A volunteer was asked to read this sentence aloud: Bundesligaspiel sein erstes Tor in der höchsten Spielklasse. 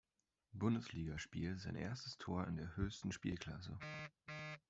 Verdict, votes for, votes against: accepted, 2, 0